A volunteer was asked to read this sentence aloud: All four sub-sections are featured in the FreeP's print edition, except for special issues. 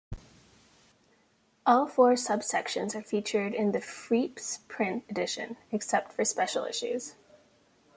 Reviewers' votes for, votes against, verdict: 2, 1, accepted